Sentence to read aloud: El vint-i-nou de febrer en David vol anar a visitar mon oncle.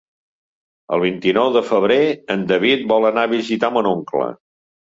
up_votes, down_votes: 2, 0